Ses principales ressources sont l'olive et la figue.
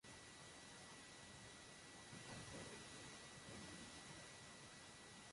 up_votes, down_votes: 0, 2